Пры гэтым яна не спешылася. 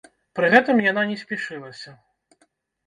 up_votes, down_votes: 3, 4